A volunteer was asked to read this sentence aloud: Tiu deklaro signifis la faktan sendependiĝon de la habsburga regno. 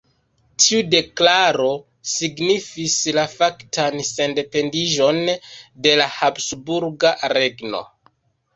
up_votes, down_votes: 0, 2